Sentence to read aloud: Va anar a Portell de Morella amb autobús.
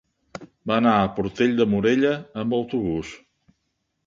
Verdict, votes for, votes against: accepted, 3, 0